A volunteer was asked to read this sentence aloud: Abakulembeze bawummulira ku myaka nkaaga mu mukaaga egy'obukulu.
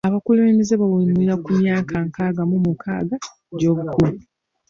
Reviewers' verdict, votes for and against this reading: accepted, 2, 0